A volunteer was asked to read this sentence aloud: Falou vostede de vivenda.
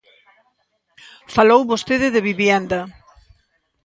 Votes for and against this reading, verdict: 0, 2, rejected